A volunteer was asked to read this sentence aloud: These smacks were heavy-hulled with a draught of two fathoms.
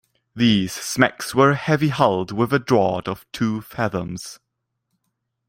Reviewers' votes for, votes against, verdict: 1, 2, rejected